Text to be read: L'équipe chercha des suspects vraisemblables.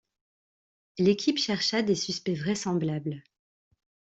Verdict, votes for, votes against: accepted, 2, 0